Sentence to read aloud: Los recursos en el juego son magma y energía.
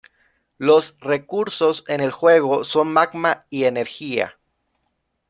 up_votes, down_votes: 2, 0